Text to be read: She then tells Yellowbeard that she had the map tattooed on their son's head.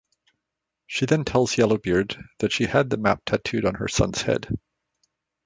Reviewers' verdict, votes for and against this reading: rejected, 1, 2